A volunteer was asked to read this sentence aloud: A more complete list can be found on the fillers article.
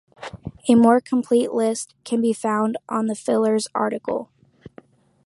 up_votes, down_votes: 2, 0